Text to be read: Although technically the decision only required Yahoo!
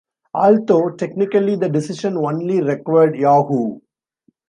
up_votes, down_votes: 1, 2